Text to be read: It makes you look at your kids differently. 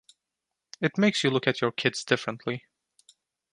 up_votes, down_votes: 2, 0